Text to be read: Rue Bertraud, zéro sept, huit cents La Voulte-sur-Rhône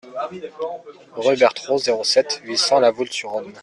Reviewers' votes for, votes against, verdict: 0, 2, rejected